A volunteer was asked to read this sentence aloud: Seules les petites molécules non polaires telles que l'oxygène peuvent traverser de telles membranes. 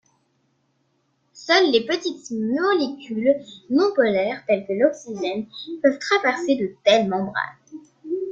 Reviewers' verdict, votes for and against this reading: rejected, 0, 2